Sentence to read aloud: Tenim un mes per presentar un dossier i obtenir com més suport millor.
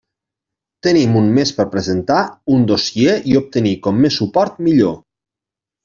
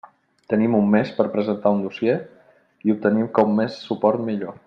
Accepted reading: first